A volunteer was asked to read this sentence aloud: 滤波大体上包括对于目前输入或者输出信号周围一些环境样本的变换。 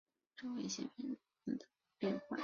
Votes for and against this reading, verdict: 1, 2, rejected